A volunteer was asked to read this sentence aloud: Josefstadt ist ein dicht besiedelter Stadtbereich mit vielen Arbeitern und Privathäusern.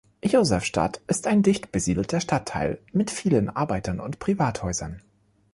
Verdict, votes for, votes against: rejected, 1, 2